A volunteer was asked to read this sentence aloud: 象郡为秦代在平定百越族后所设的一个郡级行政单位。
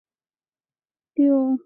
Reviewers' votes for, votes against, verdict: 0, 2, rejected